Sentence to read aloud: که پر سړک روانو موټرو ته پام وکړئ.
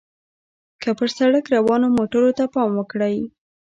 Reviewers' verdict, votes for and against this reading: rejected, 0, 2